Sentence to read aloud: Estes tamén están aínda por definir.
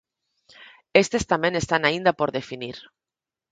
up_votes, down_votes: 4, 0